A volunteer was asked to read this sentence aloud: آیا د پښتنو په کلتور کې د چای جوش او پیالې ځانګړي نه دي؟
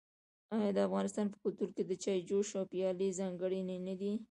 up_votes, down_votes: 1, 2